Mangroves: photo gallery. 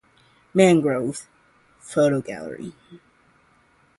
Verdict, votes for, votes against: accepted, 2, 0